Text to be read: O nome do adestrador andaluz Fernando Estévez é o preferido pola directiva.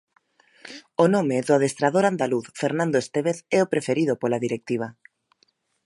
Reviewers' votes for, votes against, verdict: 2, 0, accepted